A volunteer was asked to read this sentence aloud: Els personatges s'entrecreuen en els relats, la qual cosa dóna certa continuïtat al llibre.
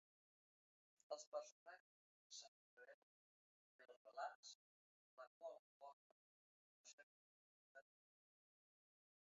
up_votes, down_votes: 0, 2